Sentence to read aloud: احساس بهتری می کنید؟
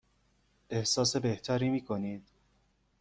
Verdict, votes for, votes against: accepted, 2, 0